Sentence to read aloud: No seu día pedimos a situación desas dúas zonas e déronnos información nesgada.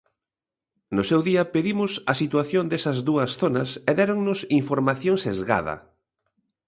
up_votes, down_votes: 0, 2